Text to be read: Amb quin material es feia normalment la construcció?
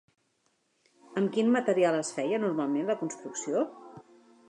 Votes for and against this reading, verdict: 3, 0, accepted